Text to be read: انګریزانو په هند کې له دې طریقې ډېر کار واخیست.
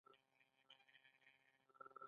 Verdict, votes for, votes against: accepted, 2, 1